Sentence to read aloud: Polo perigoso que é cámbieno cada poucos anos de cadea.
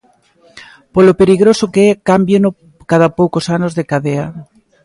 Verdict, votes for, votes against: rejected, 0, 2